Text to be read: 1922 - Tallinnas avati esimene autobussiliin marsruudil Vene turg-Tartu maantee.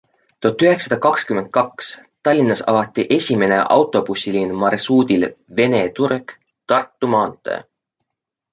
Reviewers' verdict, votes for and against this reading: rejected, 0, 2